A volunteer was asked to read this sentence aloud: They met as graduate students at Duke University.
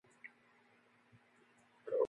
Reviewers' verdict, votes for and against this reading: rejected, 0, 2